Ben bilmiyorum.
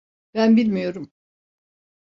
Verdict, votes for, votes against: accepted, 2, 0